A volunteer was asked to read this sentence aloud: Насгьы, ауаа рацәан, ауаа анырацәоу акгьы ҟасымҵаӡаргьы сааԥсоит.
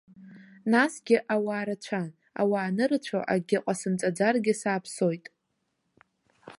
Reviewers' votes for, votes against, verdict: 2, 0, accepted